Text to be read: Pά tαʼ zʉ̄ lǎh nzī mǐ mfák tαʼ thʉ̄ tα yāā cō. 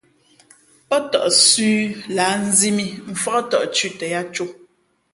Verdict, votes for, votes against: accepted, 3, 0